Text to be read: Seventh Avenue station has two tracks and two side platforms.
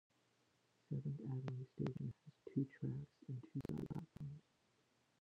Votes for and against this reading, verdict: 0, 2, rejected